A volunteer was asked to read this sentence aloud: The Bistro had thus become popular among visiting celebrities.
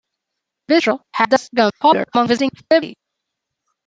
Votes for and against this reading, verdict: 0, 2, rejected